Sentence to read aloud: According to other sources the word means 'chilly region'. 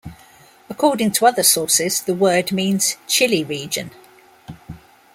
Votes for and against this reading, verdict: 2, 0, accepted